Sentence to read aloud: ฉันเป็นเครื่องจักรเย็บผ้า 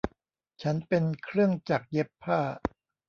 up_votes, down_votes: 2, 0